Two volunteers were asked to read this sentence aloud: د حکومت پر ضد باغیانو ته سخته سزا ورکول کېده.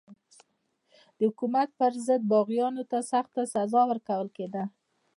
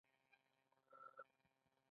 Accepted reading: second